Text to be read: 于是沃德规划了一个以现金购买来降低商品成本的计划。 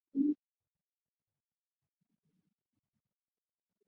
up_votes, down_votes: 0, 2